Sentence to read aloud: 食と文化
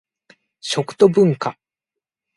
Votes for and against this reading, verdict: 0, 2, rejected